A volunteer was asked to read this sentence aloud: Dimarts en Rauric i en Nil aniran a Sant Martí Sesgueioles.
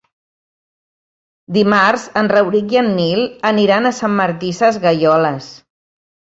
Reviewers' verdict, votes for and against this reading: accepted, 2, 0